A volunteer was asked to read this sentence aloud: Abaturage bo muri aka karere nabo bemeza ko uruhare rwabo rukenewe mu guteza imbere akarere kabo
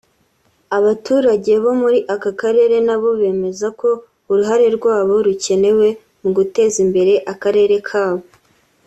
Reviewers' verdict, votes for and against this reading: accepted, 4, 0